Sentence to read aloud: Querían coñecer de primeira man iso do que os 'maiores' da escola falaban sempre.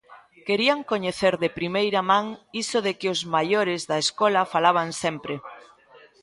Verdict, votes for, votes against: rejected, 0, 2